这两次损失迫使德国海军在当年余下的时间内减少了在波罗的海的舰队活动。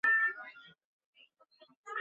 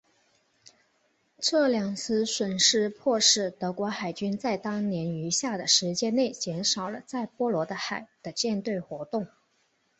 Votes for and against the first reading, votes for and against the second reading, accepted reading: 1, 2, 7, 1, second